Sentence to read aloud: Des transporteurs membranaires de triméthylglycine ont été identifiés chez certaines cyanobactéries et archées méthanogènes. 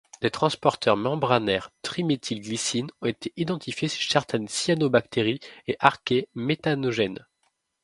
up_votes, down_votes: 1, 2